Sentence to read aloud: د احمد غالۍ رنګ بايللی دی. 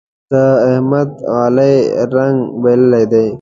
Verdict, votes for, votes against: rejected, 1, 2